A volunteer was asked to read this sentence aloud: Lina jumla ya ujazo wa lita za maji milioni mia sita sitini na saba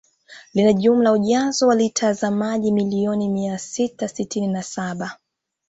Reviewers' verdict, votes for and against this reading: accepted, 2, 0